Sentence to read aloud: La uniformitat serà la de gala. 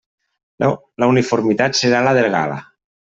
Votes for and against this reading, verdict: 1, 2, rejected